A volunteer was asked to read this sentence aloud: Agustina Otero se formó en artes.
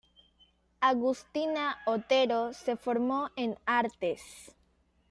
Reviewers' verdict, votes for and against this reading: accepted, 2, 0